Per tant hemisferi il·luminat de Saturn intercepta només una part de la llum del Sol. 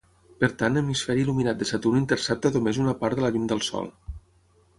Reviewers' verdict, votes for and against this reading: accepted, 6, 0